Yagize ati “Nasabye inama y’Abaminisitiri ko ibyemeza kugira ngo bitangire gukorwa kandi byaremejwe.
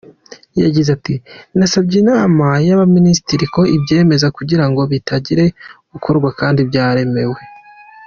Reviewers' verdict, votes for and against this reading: rejected, 0, 2